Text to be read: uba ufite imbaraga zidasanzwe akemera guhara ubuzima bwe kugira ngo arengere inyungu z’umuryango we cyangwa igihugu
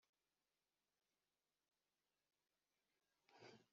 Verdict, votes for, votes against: rejected, 1, 3